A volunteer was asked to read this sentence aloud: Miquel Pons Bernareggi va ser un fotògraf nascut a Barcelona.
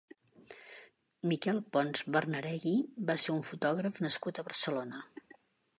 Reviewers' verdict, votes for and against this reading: accepted, 2, 1